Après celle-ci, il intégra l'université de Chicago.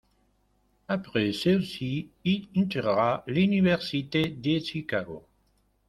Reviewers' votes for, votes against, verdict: 0, 2, rejected